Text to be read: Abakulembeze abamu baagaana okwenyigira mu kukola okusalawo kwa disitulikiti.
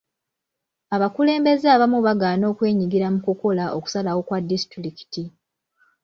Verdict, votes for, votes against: accepted, 2, 1